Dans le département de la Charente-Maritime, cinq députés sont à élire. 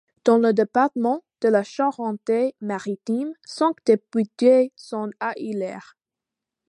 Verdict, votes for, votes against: rejected, 0, 2